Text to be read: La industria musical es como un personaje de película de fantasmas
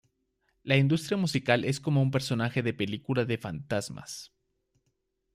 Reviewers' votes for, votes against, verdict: 2, 0, accepted